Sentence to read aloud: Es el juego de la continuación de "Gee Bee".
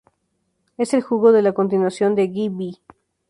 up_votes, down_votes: 0, 2